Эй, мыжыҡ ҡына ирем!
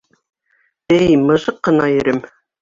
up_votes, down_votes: 2, 0